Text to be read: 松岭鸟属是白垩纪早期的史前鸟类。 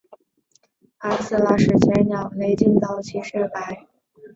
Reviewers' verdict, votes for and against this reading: rejected, 0, 3